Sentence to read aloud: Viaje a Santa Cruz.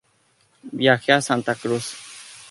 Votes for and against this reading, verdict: 0, 2, rejected